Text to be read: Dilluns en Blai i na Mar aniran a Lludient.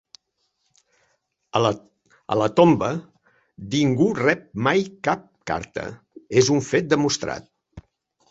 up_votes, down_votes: 0, 4